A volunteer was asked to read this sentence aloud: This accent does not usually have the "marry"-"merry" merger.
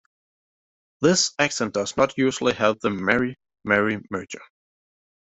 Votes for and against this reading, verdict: 2, 0, accepted